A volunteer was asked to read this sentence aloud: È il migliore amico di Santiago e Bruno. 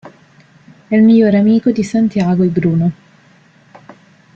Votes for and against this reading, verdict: 0, 2, rejected